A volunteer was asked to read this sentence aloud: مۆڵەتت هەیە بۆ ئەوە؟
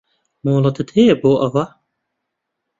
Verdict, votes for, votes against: accepted, 2, 0